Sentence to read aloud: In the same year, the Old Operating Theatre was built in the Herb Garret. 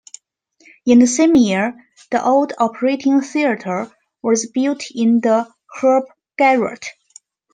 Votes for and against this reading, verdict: 2, 0, accepted